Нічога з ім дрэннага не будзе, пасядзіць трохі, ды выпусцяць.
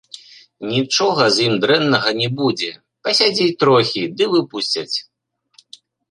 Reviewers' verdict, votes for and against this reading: accepted, 2, 0